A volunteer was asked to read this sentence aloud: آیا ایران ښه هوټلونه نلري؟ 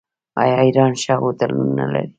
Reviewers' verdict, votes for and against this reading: accepted, 2, 1